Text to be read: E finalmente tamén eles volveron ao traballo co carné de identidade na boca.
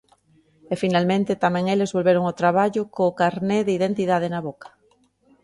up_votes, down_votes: 2, 0